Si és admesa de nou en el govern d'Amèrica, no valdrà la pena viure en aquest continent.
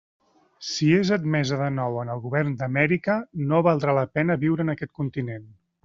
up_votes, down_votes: 3, 0